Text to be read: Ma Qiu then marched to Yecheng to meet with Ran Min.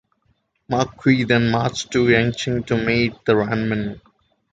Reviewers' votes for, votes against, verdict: 2, 1, accepted